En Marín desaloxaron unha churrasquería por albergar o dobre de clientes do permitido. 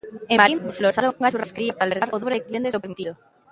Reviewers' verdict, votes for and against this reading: rejected, 0, 2